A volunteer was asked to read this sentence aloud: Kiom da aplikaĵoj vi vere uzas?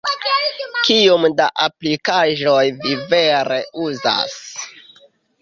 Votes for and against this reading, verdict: 0, 2, rejected